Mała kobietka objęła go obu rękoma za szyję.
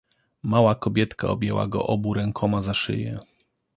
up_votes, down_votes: 2, 0